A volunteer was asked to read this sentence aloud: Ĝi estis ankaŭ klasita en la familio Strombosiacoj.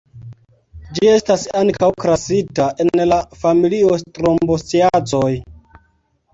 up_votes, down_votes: 0, 2